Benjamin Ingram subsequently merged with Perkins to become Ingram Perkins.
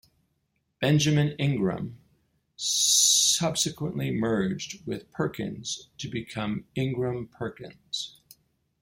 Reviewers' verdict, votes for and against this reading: accepted, 2, 0